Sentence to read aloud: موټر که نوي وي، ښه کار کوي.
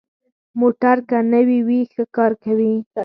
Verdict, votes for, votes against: rejected, 2, 4